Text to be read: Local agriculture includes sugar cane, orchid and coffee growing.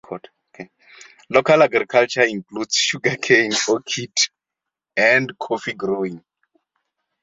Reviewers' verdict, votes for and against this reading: rejected, 0, 2